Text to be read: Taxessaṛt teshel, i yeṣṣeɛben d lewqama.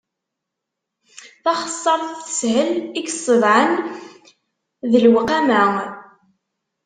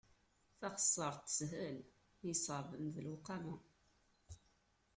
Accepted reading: second